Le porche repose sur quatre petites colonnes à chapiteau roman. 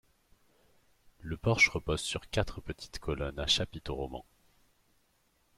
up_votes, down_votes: 2, 0